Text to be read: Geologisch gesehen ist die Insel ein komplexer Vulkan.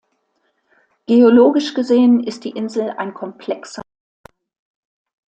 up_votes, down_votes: 0, 2